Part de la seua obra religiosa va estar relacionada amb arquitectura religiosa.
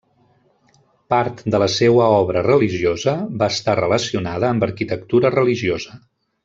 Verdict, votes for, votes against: accepted, 3, 0